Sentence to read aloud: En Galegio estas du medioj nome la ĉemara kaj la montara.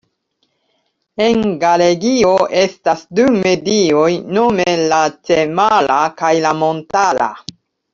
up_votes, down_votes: 2, 1